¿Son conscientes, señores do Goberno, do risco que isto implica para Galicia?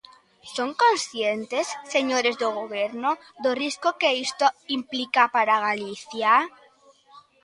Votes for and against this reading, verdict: 0, 2, rejected